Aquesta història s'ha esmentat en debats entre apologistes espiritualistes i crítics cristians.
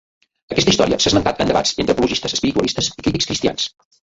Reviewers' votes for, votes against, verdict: 0, 3, rejected